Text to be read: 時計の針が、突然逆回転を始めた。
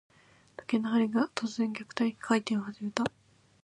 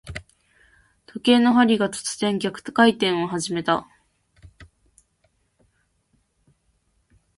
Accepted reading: second